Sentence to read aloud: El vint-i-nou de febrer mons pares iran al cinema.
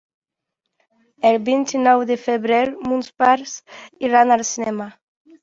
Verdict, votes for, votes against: accepted, 4, 0